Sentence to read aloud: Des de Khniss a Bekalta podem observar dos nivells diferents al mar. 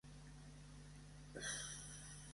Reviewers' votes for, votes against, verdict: 1, 2, rejected